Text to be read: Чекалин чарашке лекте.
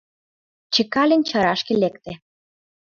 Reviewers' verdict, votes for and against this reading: accepted, 2, 0